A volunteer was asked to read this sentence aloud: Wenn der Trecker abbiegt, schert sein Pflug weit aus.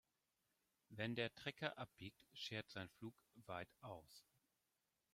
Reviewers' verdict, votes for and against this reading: accepted, 2, 0